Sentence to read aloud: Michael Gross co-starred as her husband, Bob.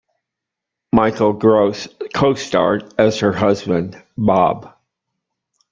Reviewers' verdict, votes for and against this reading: accepted, 2, 0